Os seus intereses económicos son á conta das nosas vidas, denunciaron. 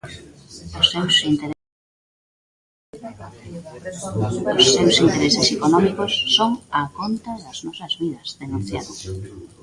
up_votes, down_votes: 0, 2